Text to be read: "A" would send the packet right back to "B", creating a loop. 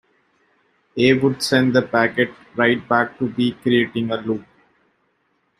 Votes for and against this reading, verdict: 2, 0, accepted